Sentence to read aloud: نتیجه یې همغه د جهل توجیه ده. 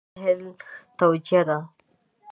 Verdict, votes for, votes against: rejected, 1, 2